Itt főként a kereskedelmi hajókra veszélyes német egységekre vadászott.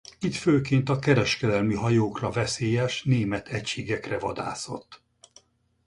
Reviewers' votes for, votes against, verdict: 4, 0, accepted